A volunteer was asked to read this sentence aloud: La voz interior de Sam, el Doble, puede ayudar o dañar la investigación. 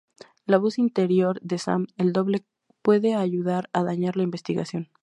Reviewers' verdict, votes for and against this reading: accepted, 4, 0